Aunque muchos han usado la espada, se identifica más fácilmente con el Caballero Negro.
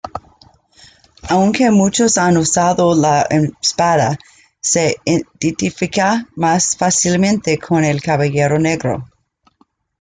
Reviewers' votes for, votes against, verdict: 1, 2, rejected